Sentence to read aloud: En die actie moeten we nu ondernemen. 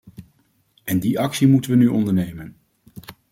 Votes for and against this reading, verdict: 2, 0, accepted